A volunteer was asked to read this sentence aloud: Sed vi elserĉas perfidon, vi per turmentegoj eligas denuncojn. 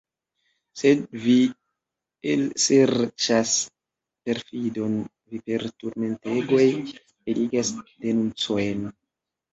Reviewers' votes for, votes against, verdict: 0, 2, rejected